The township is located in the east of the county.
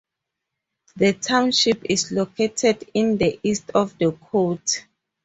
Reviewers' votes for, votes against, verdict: 0, 2, rejected